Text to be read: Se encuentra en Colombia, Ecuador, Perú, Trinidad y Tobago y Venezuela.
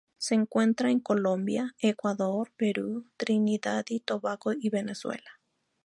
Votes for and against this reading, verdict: 4, 0, accepted